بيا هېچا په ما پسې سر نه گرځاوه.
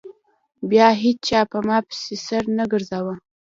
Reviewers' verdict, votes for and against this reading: accepted, 3, 1